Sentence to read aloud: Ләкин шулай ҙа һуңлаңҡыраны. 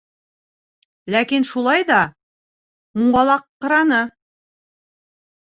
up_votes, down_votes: 1, 2